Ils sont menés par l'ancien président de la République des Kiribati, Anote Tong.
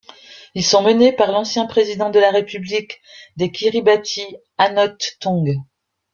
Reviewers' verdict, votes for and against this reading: accepted, 2, 0